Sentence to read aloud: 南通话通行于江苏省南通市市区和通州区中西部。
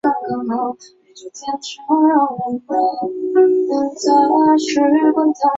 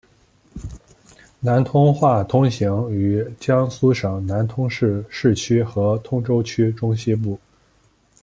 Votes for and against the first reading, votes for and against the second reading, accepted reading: 0, 9, 2, 1, second